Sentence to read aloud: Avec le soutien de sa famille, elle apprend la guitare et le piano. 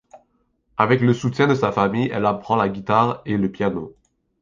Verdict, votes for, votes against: accepted, 2, 1